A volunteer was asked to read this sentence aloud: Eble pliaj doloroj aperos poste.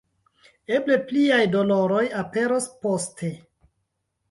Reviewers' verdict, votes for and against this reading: accepted, 2, 0